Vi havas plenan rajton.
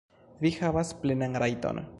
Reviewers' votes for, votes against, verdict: 2, 0, accepted